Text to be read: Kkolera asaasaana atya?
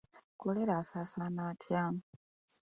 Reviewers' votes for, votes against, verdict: 3, 1, accepted